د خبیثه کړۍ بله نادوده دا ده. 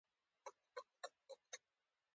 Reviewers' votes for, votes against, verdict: 2, 0, accepted